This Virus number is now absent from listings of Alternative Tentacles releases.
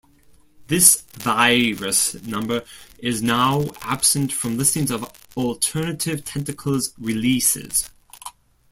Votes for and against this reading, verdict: 1, 2, rejected